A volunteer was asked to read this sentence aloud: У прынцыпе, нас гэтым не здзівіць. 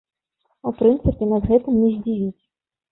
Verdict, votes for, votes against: accepted, 2, 0